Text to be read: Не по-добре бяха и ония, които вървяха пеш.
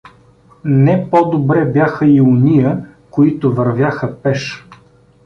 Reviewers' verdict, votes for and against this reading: accepted, 2, 0